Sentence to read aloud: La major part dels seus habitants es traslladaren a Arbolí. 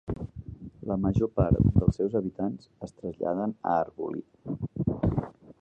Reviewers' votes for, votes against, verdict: 0, 2, rejected